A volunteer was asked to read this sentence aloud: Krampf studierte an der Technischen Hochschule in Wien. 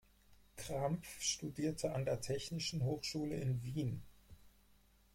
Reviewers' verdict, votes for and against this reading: accepted, 4, 0